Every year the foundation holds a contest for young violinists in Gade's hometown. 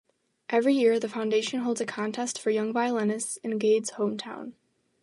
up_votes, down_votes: 2, 0